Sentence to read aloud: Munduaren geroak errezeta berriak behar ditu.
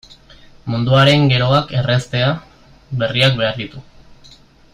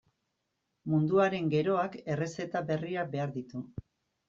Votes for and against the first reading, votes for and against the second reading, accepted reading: 0, 2, 2, 0, second